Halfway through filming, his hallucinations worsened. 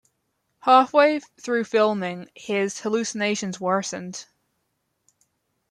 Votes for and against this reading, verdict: 1, 2, rejected